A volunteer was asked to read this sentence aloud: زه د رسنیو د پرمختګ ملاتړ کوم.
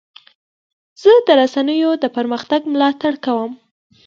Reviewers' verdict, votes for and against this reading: accepted, 3, 0